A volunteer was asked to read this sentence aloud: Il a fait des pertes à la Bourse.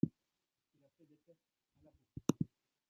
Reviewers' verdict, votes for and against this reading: rejected, 0, 2